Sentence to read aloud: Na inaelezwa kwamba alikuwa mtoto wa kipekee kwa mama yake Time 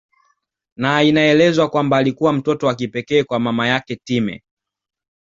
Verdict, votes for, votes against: accepted, 2, 0